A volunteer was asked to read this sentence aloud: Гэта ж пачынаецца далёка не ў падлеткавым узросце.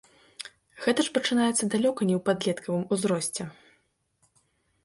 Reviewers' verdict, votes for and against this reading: accepted, 2, 0